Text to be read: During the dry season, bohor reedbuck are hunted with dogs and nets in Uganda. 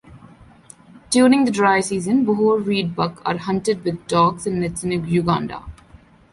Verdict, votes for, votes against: accepted, 2, 1